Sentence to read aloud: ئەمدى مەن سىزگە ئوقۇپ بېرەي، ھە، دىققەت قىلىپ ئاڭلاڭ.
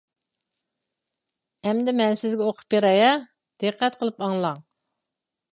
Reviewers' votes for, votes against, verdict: 2, 0, accepted